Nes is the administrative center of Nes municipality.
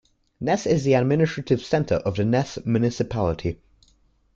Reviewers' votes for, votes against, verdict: 1, 2, rejected